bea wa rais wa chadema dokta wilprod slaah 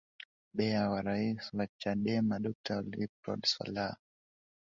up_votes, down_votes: 2, 0